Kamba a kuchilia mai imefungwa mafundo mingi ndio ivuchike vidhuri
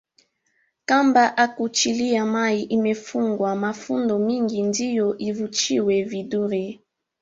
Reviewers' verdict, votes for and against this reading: rejected, 2, 3